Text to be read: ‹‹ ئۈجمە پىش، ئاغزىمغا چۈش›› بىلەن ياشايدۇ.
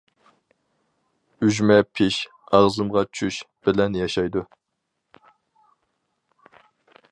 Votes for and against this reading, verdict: 2, 2, rejected